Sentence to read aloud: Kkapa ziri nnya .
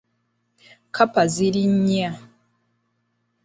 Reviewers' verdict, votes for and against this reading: accepted, 2, 0